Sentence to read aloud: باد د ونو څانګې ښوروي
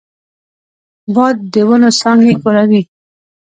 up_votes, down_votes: 2, 0